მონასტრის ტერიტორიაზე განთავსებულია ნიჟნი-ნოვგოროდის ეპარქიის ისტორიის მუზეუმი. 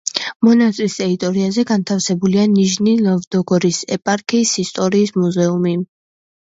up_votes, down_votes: 0, 2